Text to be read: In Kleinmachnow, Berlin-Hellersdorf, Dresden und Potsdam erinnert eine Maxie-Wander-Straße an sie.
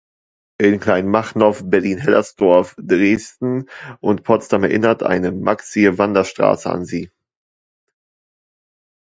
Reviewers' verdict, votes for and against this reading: accepted, 2, 1